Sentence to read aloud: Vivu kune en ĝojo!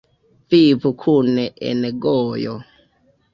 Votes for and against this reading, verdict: 0, 2, rejected